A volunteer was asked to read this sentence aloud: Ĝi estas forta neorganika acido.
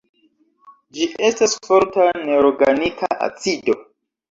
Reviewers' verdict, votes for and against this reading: rejected, 1, 2